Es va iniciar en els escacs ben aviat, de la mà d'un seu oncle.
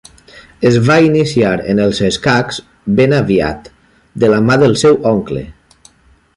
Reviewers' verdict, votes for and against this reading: rejected, 1, 2